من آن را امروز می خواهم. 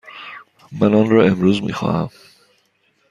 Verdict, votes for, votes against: accepted, 2, 0